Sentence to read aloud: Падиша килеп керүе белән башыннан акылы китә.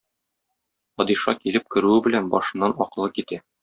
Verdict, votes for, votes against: accepted, 2, 0